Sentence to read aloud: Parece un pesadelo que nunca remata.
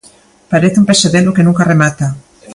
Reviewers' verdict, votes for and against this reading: accepted, 2, 0